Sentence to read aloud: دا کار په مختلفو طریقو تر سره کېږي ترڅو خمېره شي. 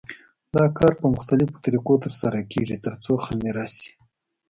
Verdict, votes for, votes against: accepted, 3, 0